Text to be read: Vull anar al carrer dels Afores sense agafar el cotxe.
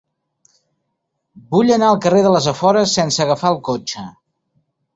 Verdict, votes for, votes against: rejected, 0, 2